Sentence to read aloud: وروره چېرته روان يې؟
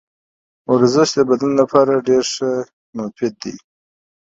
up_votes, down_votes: 0, 2